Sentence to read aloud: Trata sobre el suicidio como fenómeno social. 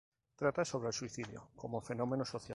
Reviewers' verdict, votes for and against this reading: accepted, 2, 0